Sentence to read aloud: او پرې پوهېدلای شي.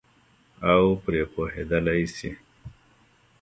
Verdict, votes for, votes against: accepted, 3, 1